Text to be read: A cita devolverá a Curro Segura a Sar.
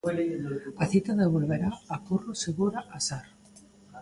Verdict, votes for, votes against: accepted, 2, 0